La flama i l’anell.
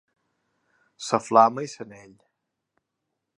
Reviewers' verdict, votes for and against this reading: rejected, 1, 4